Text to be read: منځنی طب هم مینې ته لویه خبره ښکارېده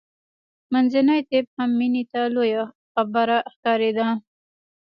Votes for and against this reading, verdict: 2, 0, accepted